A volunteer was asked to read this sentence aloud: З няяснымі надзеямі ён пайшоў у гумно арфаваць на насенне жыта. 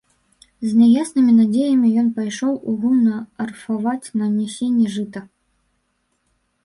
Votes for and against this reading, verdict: 1, 2, rejected